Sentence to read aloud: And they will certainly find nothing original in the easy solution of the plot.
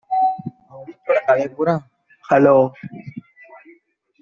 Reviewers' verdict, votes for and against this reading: rejected, 0, 2